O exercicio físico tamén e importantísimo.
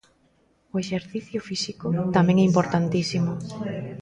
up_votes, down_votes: 1, 2